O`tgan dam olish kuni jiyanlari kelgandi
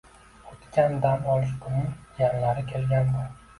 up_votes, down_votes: 1, 2